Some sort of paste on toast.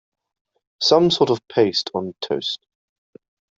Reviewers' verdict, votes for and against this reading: accepted, 2, 0